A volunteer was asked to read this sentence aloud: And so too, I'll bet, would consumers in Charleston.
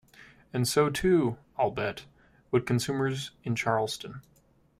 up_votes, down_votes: 2, 0